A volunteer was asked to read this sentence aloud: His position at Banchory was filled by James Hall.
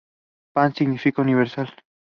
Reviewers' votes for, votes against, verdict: 0, 2, rejected